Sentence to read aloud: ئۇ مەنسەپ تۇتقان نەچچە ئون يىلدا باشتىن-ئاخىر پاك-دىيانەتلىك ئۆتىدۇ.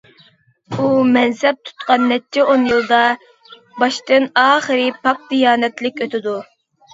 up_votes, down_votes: 0, 2